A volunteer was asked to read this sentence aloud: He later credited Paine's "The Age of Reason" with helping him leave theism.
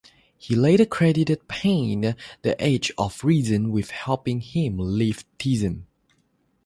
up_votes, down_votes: 3, 0